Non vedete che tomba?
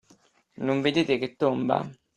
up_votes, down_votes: 2, 0